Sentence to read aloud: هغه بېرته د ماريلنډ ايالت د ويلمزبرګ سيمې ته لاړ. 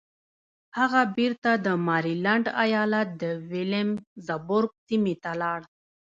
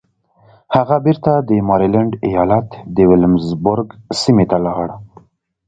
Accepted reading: second